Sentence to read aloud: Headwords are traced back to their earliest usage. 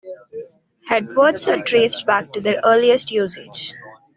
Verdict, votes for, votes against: accepted, 2, 0